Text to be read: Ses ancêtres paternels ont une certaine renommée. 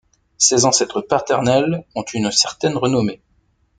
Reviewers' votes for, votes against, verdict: 2, 0, accepted